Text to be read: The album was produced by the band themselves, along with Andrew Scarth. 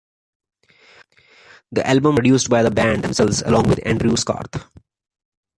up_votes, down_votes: 2, 0